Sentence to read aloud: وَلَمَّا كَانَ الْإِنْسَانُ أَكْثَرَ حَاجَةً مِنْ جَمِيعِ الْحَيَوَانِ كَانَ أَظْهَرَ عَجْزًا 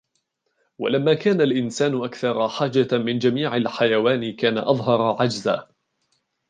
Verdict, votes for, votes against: rejected, 1, 2